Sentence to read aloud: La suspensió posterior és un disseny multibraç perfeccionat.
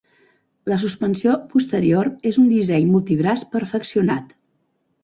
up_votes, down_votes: 4, 0